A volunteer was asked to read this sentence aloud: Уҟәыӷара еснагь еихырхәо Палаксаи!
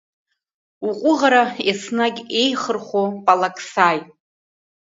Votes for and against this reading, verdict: 1, 2, rejected